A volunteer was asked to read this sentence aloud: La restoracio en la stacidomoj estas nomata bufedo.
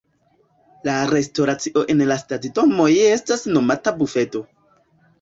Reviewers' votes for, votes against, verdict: 2, 1, accepted